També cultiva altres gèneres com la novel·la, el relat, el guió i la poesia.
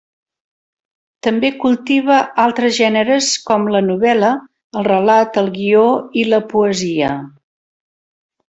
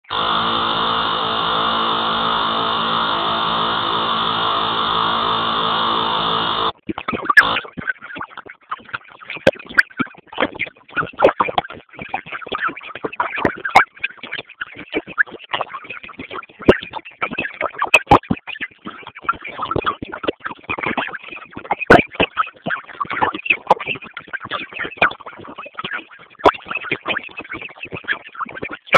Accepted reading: first